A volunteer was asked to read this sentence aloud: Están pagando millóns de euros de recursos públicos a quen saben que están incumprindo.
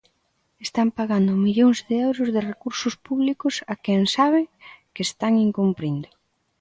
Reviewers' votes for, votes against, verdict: 1, 2, rejected